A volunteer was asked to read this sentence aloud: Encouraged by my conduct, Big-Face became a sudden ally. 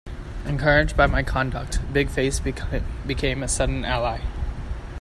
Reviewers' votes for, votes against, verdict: 0, 2, rejected